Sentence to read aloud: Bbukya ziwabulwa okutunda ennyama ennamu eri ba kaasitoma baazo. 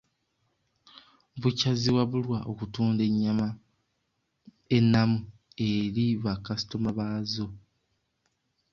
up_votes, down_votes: 0, 2